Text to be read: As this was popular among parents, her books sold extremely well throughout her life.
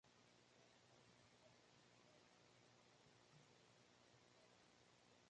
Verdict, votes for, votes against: rejected, 1, 2